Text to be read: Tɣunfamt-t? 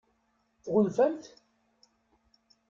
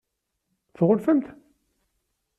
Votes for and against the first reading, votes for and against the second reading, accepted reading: 1, 2, 2, 0, second